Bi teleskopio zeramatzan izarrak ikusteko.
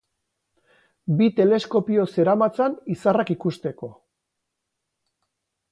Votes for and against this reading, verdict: 4, 0, accepted